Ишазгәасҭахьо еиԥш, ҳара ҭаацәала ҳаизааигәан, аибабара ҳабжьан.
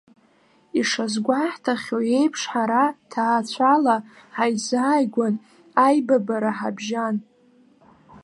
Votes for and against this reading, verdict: 0, 2, rejected